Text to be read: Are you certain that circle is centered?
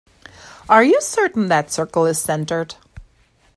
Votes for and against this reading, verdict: 2, 0, accepted